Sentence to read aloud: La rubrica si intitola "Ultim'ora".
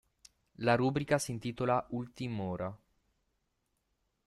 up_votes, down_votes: 0, 2